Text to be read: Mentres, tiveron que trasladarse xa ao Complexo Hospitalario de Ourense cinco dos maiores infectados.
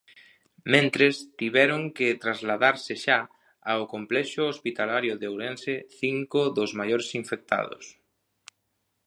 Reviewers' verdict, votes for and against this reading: accepted, 2, 0